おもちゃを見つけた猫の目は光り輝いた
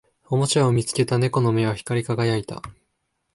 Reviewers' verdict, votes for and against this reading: accepted, 2, 0